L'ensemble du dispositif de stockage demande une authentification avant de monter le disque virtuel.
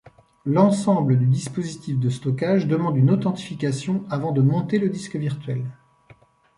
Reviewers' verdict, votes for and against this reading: accepted, 2, 0